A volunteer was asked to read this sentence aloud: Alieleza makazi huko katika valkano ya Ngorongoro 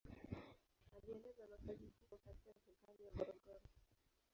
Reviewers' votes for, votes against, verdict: 0, 2, rejected